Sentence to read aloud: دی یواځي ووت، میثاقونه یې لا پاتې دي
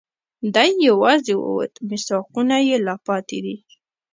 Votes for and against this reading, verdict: 1, 2, rejected